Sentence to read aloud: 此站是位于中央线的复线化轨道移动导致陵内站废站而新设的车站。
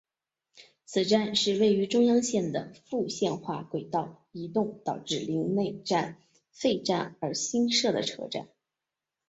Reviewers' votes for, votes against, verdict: 5, 1, accepted